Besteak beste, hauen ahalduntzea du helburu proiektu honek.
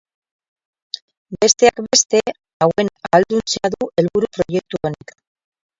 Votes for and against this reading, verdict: 0, 4, rejected